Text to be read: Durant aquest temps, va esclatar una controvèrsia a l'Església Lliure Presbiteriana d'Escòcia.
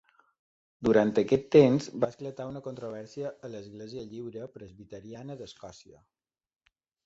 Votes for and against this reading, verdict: 0, 2, rejected